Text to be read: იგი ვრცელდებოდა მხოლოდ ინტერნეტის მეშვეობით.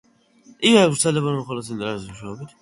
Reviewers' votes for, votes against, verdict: 0, 2, rejected